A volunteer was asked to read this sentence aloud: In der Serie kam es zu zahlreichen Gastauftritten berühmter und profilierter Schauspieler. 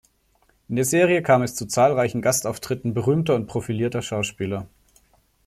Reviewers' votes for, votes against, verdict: 2, 1, accepted